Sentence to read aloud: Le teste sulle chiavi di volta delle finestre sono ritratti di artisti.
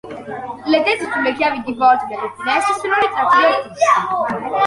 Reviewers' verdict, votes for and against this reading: rejected, 0, 2